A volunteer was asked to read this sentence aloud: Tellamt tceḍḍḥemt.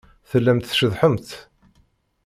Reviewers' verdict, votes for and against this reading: rejected, 1, 2